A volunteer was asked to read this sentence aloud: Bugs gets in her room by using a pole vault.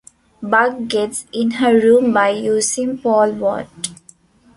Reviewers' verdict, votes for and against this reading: rejected, 0, 2